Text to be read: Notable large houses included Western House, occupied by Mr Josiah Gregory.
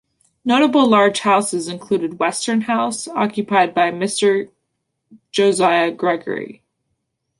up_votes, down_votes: 2, 0